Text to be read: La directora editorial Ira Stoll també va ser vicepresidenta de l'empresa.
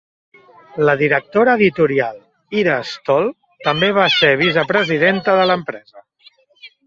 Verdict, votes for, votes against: rejected, 0, 2